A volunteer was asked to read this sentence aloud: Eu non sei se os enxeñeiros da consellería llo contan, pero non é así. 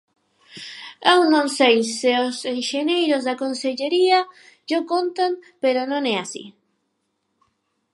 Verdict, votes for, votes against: rejected, 0, 4